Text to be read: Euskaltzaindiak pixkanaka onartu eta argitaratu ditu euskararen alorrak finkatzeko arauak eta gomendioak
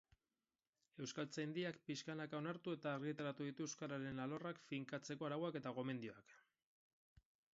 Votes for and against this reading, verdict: 6, 2, accepted